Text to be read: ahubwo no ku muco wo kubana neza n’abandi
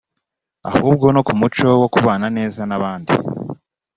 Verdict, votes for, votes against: accepted, 2, 0